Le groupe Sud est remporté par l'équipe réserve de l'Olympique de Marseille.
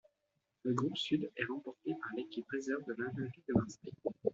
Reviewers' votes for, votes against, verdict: 2, 0, accepted